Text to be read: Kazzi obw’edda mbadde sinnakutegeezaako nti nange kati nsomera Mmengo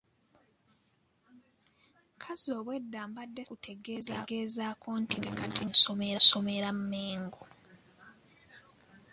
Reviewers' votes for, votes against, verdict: 1, 5, rejected